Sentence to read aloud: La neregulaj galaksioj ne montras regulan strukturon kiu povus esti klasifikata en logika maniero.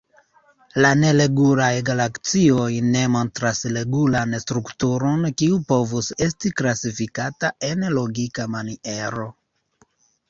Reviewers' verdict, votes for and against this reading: accepted, 2, 1